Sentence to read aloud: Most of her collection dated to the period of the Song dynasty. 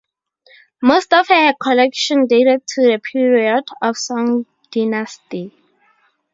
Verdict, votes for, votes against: rejected, 0, 2